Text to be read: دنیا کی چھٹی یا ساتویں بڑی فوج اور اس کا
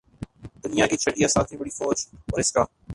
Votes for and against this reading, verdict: 2, 4, rejected